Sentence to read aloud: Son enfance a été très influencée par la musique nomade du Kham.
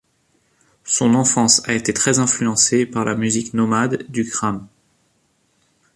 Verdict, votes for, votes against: rejected, 1, 2